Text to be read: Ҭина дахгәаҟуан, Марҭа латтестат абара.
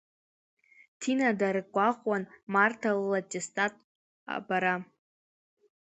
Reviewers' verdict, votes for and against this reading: rejected, 0, 2